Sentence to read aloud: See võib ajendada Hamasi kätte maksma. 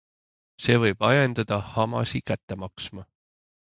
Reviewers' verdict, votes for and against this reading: accepted, 3, 0